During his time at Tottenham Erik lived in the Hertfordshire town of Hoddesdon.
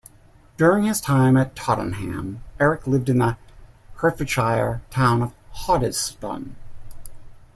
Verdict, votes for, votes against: accepted, 2, 0